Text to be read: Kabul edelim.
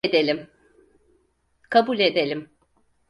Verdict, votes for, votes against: rejected, 0, 4